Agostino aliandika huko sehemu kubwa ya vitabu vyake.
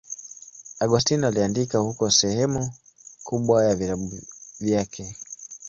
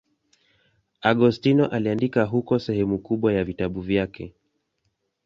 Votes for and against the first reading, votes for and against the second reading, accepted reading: 0, 2, 2, 0, second